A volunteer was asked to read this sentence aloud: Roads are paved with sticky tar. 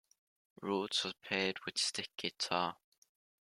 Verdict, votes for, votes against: accepted, 2, 0